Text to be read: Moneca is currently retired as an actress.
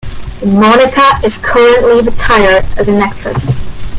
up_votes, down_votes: 0, 2